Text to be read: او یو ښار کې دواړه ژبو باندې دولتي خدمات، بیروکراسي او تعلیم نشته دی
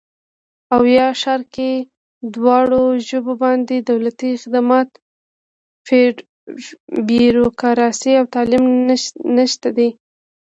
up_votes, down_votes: 0, 2